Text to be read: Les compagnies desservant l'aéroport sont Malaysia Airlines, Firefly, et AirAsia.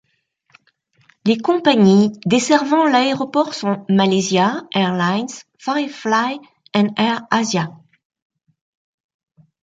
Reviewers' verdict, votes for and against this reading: rejected, 1, 2